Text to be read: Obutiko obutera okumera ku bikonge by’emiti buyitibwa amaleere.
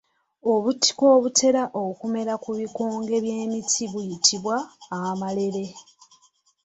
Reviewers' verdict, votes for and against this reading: rejected, 1, 2